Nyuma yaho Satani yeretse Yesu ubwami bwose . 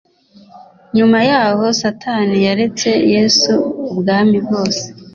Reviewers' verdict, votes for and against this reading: rejected, 1, 2